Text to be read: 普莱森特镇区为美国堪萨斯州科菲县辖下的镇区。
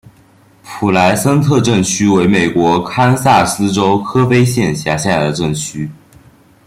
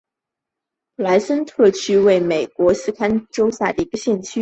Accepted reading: first